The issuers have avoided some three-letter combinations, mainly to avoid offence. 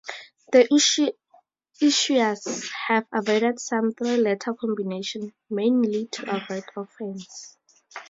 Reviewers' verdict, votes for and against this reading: rejected, 0, 2